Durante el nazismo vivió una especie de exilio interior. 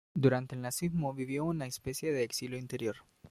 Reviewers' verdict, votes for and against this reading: accepted, 2, 0